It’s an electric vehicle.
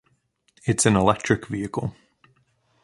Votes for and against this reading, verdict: 2, 0, accepted